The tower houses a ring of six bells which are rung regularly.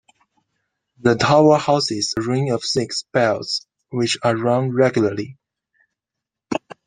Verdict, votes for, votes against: accepted, 2, 1